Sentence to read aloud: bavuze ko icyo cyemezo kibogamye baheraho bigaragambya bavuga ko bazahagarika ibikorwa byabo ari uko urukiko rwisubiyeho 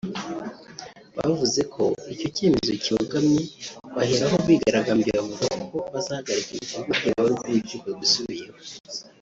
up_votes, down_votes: 1, 2